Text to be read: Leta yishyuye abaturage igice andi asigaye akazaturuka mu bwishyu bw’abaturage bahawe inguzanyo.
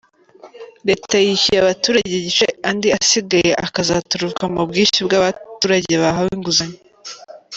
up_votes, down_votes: 3, 0